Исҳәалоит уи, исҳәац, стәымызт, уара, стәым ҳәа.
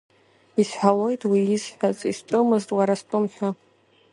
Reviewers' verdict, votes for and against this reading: accepted, 2, 0